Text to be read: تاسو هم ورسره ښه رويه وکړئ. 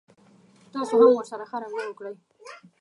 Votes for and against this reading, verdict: 1, 2, rejected